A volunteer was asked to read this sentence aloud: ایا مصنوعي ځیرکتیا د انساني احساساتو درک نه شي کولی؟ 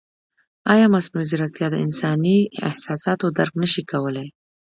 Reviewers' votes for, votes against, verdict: 0, 2, rejected